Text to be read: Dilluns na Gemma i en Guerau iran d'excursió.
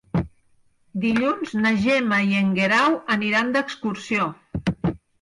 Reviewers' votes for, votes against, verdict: 0, 4, rejected